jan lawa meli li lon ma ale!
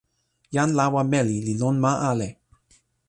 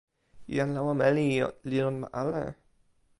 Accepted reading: first